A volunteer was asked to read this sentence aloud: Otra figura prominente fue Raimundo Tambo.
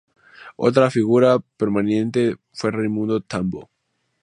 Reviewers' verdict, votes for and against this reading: rejected, 0, 2